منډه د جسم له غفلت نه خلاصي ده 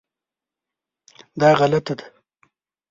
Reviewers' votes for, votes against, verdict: 0, 2, rejected